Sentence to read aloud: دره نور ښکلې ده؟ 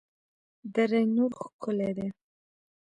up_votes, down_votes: 2, 0